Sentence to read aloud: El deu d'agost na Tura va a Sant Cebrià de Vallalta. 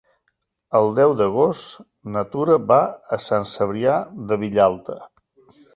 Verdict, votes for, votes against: rejected, 1, 3